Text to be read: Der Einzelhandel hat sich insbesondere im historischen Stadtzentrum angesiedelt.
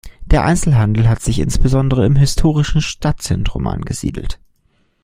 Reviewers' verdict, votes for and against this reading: accepted, 2, 0